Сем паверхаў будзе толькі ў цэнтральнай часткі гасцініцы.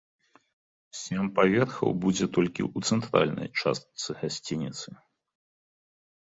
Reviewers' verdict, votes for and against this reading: rejected, 1, 2